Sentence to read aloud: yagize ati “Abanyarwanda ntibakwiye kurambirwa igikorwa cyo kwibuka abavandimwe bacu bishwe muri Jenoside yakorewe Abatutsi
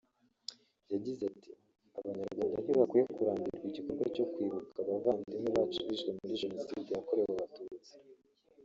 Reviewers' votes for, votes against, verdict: 0, 2, rejected